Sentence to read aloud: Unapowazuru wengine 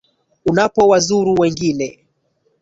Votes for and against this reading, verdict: 1, 2, rejected